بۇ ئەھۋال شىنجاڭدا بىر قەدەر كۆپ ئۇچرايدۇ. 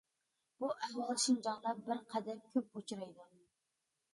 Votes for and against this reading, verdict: 2, 1, accepted